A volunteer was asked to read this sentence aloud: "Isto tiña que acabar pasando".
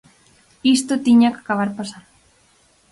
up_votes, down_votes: 4, 0